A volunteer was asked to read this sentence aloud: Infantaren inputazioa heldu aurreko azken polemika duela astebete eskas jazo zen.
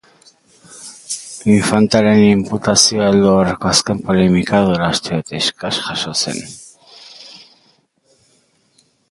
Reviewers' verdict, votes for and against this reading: rejected, 1, 2